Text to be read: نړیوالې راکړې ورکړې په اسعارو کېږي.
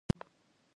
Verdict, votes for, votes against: rejected, 1, 2